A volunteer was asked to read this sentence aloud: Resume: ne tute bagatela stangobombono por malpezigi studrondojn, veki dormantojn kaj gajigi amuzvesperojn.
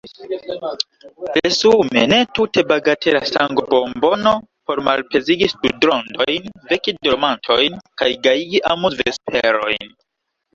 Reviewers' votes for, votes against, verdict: 1, 2, rejected